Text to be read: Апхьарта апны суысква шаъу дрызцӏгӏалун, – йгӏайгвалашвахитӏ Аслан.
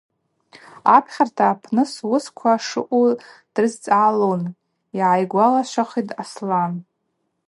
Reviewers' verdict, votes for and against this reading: accepted, 4, 0